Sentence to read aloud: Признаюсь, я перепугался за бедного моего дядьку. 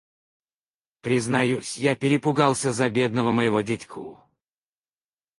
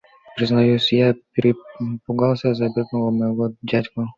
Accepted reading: second